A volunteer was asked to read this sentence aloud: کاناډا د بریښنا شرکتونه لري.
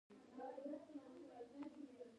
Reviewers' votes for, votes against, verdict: 1, 2, rejected